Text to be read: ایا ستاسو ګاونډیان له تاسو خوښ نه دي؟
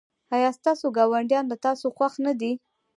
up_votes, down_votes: 1, 2